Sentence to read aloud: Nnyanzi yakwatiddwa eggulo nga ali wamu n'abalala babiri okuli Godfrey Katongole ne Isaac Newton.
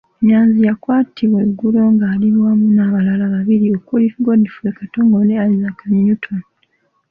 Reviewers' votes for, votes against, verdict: 1, 2, rejected